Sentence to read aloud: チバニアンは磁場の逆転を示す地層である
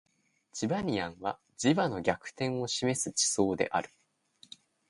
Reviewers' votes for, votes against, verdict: 2, 0, accepted